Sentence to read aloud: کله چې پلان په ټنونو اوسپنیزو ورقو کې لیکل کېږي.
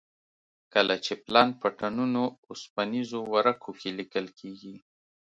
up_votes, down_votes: 2, 0